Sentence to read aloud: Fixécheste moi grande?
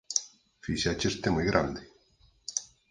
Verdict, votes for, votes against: rejected, 0, 4